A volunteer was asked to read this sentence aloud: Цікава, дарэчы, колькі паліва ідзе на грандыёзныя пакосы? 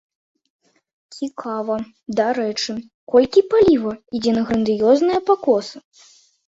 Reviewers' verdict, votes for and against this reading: rejected, 0, 2